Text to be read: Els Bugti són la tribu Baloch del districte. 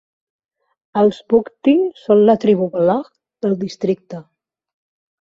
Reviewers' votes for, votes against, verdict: 1, 2, rejected